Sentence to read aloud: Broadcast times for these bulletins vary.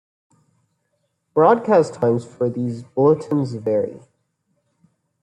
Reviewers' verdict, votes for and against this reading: accepted, 2, 1